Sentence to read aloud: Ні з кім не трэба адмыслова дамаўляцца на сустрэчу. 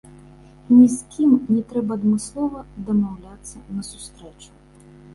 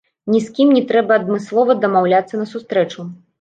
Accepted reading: first